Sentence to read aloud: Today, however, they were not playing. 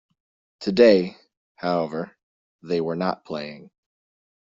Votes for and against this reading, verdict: 2, 1, accepted